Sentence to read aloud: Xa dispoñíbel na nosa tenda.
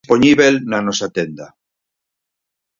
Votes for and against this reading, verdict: 0, 4, rejected